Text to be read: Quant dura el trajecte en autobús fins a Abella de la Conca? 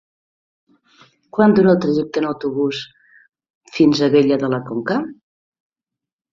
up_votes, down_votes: 2, 0